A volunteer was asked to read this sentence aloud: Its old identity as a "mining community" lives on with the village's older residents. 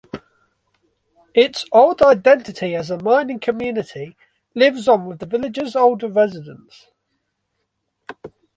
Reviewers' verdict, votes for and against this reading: accepted, 2, 1